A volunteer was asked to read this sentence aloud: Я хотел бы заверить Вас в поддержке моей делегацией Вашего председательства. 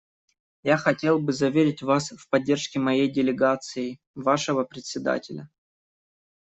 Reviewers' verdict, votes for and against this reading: rejected, 0, 2